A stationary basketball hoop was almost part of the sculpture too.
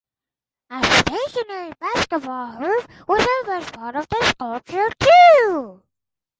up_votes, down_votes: 2, 4